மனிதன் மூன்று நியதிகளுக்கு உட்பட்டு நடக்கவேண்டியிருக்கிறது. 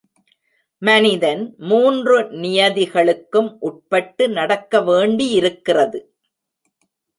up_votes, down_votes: 1, 2